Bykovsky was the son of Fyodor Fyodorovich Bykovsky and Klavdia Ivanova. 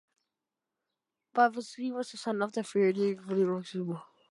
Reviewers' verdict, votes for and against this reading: rejected, 0, 2